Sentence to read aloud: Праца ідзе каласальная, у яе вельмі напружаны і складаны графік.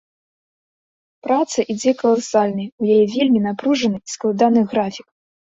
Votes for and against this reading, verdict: 2, 0, accepted